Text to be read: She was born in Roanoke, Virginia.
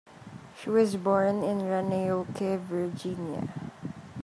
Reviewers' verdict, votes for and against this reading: rejected, 0, 2